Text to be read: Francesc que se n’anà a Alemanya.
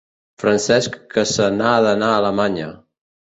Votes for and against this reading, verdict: 0, 2, rejected